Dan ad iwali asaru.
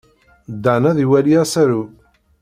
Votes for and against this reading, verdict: 2, 0, accepted